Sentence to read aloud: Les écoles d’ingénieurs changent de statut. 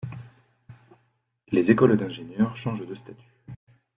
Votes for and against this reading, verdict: 2, 1, accepted